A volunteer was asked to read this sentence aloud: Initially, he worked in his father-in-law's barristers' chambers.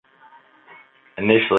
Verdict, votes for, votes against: rejected, 0, 3